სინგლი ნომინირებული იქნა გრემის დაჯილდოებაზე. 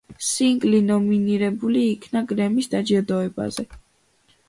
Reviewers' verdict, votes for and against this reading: accepted, 2, 0